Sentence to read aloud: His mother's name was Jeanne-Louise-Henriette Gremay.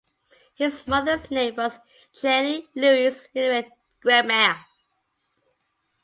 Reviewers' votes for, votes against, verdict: 0, 2, rejected